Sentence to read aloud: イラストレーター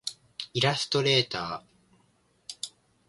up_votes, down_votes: 1, 2